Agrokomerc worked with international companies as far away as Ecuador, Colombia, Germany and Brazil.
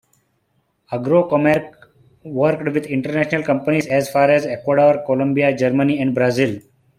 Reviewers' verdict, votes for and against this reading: accepted, 2, 0